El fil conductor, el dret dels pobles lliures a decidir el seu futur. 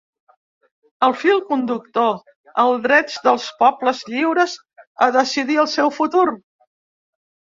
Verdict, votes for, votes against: rejected, 0, 2